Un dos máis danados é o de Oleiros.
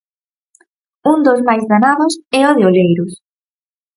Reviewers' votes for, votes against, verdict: 4, 0, accepted